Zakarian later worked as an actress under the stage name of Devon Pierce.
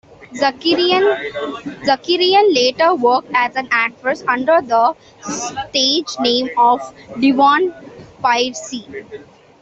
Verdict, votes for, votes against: rejected, 0, 2